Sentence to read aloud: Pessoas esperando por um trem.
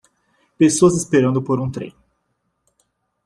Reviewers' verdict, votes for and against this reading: accepted, 2, 0